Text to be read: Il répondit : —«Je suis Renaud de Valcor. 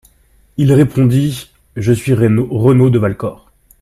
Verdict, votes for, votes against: rejected, 1, 2